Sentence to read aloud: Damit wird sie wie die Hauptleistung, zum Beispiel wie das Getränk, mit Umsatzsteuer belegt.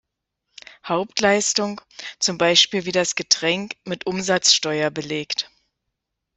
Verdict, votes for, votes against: rejected, 0, 2